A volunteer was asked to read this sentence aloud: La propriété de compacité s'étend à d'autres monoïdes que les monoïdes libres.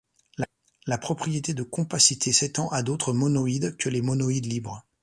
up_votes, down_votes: 0, 2